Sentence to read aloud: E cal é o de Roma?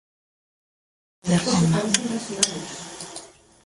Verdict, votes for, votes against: rejected, 0, 2